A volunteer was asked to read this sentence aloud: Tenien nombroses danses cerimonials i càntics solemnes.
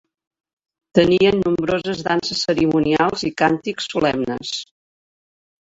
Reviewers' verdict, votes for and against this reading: rejected, 1, 2